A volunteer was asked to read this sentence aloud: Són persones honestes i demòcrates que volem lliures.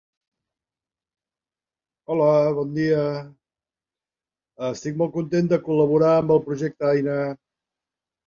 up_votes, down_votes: 0, 3